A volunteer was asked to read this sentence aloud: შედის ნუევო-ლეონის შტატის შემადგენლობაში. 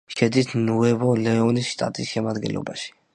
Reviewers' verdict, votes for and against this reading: accepted, 2, 0